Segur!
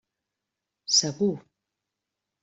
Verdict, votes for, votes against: accepted, 3, 1